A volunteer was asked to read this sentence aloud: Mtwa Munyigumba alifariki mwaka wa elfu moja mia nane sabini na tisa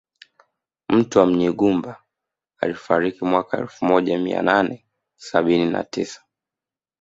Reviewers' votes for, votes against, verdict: 2, 0, accepted